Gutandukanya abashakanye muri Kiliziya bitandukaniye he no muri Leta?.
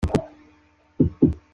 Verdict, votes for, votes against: rejected, 0, 2